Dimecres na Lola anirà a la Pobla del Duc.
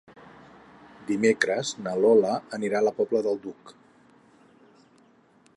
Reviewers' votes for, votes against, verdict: 8, 0, accepted